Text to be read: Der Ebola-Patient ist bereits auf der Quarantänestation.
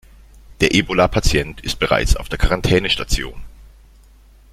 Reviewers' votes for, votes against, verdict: 2, 0, accepted